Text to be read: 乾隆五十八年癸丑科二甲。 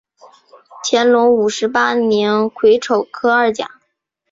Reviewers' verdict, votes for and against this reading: accepted, 2, 0